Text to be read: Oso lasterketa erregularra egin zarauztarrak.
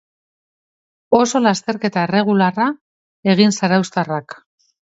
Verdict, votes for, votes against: accepted, 2, 0